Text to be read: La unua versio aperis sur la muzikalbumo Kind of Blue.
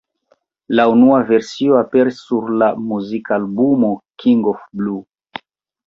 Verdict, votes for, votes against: accepted, 2, 1